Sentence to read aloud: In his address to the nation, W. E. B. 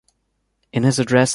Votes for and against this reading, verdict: 0, 2, rejected